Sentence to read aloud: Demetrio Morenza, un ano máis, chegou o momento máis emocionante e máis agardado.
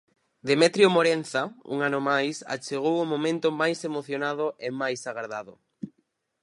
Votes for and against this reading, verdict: 0, 4, rejected